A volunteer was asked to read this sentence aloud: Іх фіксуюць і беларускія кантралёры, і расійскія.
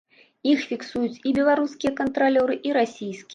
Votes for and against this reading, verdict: 0, 2, rejected